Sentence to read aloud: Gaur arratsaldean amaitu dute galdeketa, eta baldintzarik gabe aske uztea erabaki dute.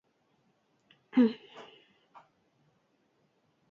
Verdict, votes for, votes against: rejected, 0, 10